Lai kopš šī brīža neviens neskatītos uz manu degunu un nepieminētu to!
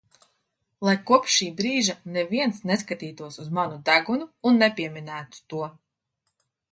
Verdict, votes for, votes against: accepted, 2, 0